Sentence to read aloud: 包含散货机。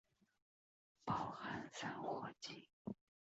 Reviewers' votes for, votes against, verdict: 1, 2, rejected